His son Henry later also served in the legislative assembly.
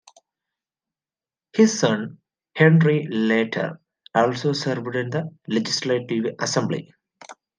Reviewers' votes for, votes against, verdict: 0, 2, rejected